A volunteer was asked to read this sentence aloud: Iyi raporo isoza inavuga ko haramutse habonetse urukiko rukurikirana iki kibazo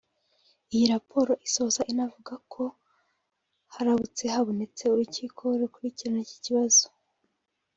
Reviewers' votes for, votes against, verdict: 1, 2, rejected